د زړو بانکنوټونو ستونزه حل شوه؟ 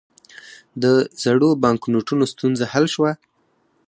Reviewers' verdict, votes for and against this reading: rejected, 0, 4